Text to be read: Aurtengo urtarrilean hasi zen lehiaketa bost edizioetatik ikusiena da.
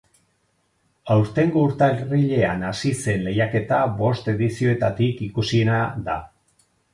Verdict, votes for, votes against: accepted, 4, 2